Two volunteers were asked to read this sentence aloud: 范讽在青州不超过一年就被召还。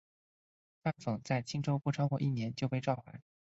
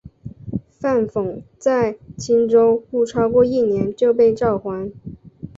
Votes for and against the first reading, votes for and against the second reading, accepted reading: 2, 2, 3, 0, second